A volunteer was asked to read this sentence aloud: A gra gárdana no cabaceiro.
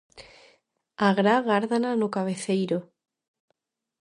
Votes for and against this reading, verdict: 0, 2, rejected